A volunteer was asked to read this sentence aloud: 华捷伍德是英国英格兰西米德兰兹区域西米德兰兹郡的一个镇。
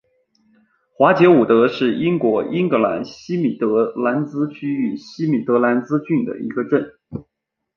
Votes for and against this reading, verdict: 2, 0, accepted